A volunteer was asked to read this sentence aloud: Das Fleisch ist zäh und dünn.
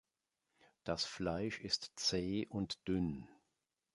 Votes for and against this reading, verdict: 2, 0, accepted